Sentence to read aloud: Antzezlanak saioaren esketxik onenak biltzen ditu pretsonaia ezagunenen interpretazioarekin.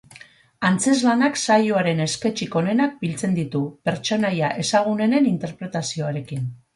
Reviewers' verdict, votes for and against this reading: rejected, 0, 2